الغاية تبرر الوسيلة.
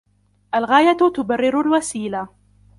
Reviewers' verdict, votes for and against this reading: accepted, 2, 1